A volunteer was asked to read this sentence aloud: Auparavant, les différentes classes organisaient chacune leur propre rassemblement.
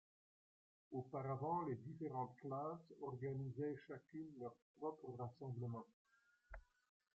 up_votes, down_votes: 2, 0